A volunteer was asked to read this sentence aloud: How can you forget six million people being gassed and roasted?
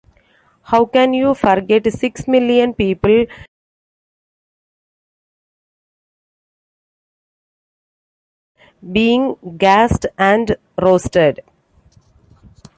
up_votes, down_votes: 0, 2